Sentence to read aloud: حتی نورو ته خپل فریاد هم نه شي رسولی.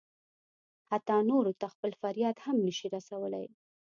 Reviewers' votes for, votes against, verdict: 2, 0, accepted